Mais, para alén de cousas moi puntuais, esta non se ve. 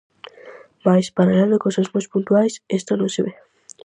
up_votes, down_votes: 0, 4